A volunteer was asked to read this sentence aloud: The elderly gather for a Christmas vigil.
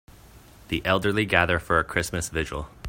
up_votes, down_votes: 2, 0